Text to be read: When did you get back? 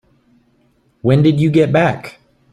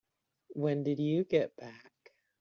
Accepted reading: first